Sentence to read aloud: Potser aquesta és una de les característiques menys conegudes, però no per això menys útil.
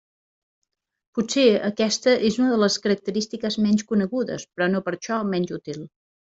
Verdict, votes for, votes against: rejected, 1, 2